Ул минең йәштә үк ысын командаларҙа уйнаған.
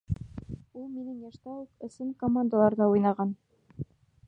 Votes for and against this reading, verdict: 1, 2, rejected